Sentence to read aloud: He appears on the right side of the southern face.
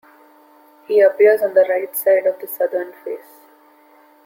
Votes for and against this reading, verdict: 2, 0, accepted